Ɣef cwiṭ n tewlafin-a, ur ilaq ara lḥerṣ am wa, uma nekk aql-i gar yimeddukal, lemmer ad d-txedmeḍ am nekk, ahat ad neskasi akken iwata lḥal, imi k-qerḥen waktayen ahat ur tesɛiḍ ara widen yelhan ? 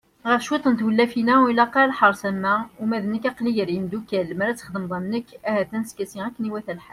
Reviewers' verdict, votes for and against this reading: rejected, 1, 2